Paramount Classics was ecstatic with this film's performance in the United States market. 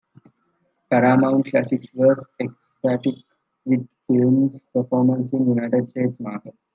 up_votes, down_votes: 1, 2